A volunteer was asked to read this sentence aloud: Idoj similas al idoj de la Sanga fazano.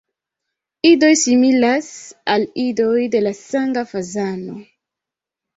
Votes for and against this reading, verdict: 2, 1, accepted